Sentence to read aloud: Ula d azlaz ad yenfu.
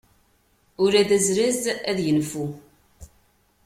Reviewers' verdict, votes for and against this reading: accepted, 2, 0